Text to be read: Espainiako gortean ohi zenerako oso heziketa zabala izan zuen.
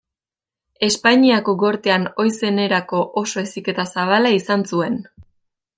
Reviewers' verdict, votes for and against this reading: accepted, 2, 0